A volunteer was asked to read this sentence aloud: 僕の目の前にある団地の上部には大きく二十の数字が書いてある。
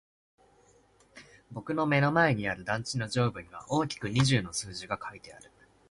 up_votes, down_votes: 5, 1